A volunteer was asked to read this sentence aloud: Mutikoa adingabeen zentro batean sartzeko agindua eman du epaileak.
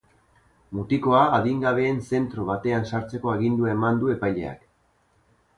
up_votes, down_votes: 0, 2